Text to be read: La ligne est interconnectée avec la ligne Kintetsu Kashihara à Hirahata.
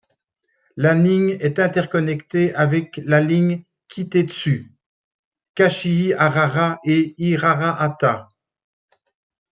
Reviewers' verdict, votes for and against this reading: rejected, 1, 2